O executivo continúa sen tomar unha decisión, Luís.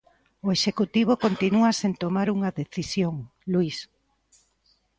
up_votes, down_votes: 2, 1